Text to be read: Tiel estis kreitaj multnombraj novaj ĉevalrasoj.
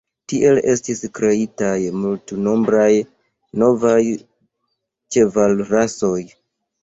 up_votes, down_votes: 1, 2